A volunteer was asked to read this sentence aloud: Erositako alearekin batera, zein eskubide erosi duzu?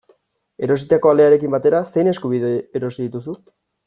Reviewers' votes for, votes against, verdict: 1, 2, rejected